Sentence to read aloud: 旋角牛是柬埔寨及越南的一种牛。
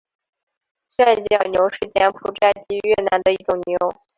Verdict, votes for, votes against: accepted, 2, 1